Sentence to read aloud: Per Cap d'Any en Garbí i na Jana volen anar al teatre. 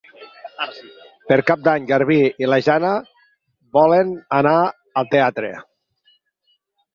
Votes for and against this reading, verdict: 4, 8, rejected